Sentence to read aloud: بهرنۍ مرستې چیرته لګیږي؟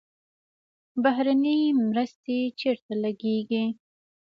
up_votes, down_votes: 2, 0